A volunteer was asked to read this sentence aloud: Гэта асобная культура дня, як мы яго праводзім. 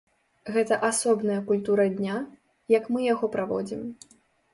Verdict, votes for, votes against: accepted, 2, 0